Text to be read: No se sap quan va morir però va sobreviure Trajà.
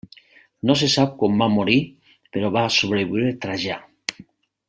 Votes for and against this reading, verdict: 1, 2, rejected